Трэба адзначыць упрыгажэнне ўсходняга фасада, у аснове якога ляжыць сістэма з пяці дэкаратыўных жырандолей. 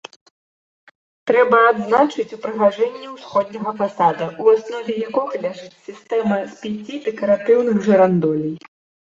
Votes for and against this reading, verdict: 2, 0, accepted